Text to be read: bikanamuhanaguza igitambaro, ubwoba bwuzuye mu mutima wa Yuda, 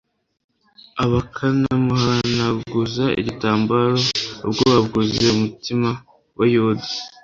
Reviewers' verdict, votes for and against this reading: rejected, 1, 2